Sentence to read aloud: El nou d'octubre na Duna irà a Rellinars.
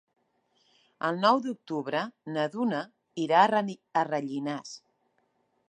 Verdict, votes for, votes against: rejected, 0, 2